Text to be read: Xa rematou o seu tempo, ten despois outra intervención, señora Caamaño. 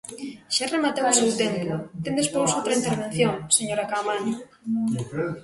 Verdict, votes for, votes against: rejected, 0, 2